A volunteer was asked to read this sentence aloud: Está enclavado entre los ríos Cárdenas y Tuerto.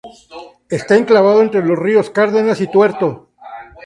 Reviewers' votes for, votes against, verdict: 4, 0, accepted